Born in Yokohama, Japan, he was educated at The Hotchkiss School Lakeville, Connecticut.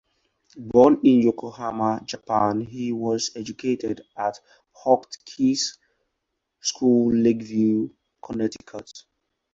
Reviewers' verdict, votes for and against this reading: rejected, 0, 4